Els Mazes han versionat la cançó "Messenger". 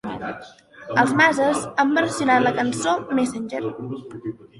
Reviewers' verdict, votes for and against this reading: accepted, 3, 2